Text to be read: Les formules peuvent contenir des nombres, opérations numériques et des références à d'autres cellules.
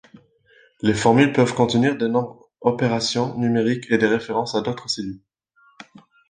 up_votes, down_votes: 2, 1